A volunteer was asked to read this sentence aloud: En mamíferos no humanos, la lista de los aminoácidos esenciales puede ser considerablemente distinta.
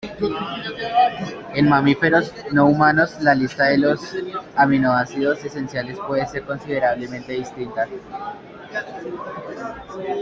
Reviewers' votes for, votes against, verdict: 2, 0, accepted